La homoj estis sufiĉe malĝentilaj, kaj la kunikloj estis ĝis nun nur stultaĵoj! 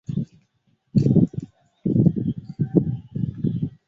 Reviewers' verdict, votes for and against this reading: rejected, 0, 2